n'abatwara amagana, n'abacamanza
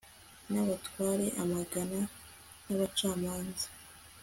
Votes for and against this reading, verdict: 2, 0, accepted